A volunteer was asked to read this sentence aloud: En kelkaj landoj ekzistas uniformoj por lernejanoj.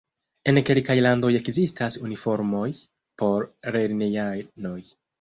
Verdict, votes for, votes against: accepted, 3, 2